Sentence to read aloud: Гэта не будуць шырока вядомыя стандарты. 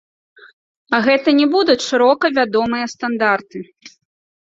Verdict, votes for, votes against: rejected, 0, 2